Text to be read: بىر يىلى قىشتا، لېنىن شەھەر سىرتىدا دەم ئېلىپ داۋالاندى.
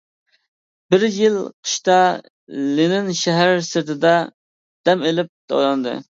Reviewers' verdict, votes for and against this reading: rejected, 0, 2